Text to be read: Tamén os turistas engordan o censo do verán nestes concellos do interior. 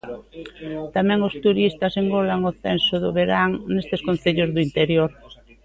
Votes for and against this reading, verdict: 0, 2, rejected